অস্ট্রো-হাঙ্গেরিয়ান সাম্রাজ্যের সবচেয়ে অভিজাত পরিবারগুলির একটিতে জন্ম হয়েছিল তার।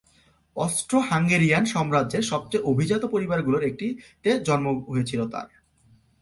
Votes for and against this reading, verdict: 0, 2, rejected